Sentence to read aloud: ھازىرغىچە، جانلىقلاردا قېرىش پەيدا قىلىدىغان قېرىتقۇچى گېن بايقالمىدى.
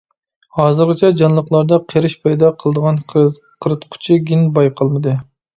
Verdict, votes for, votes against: rejected, 1, 2